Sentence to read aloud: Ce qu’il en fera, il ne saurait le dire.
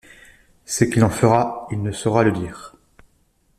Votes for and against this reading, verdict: 1, 2, rejected